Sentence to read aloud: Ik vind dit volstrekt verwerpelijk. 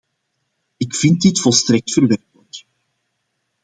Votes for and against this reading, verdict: 0, 2, rejected